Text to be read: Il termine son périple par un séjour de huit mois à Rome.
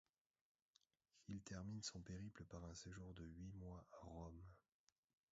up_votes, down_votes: 1, 2